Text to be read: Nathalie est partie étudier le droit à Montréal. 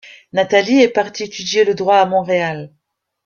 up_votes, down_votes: 2, 0